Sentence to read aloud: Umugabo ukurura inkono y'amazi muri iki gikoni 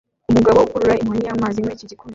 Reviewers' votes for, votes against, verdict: 1, 2, rejected